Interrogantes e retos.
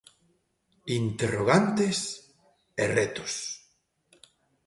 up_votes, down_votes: 2, 0